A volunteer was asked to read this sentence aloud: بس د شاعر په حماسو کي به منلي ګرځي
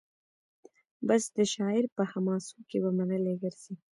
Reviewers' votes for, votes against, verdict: 2, 0, accepted